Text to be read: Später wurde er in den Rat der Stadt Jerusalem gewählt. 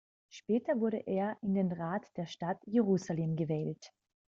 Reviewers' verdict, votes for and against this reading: accepted, 2, 0